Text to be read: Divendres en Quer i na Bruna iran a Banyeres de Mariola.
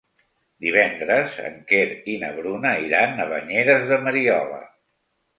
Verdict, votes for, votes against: accepted, 2, 0